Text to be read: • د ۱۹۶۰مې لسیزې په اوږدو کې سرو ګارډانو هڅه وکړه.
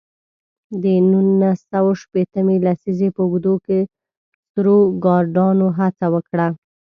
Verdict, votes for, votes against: rejected, 0, 2